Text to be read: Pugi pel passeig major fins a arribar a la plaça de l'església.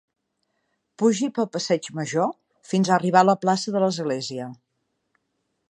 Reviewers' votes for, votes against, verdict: 2, 0, accepted